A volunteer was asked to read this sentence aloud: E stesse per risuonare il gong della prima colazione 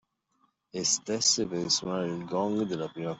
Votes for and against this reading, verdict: 0, 2, rejected